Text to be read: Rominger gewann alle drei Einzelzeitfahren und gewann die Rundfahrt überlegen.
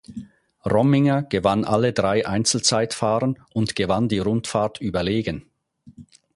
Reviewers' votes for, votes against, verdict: 4, 0, accepted